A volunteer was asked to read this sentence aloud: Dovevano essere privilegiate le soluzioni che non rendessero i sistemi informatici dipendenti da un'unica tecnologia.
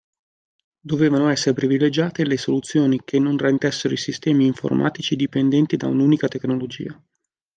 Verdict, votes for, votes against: accepted, 2, 0